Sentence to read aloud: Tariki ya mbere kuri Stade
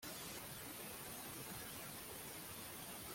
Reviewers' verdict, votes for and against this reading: rejected, 0, 2